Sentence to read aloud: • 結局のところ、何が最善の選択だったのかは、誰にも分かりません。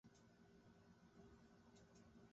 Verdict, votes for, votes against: rejected, 0, 2